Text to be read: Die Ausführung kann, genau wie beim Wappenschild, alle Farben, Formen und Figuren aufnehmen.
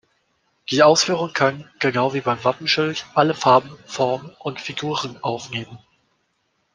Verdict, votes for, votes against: accepted, 2, 0